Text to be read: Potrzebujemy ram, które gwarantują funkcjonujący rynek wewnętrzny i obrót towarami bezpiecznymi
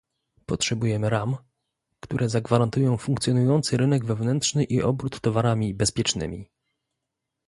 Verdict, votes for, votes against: rejected, 0, 2